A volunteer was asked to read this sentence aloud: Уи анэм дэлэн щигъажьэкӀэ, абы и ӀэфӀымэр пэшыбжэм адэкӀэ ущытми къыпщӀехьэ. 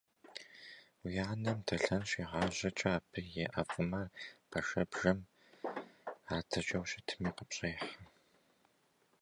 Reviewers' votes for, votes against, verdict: 0, 2, rejected